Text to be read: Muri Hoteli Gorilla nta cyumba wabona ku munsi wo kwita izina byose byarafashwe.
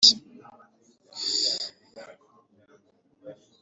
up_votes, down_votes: 0, 2